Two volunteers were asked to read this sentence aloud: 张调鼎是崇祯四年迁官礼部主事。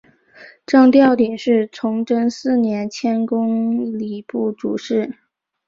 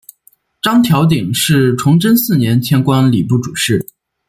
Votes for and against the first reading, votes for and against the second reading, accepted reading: 1, 2, 2, 0, second